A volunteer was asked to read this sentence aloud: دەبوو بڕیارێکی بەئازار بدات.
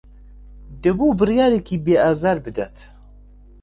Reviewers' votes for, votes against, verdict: 0, 2, rejected